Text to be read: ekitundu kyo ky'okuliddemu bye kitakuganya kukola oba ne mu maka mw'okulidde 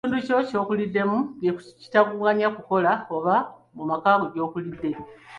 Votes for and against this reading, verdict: 1, 2, rejected